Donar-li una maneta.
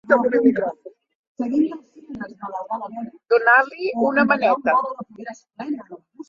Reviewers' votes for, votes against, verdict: 0, 2, rejected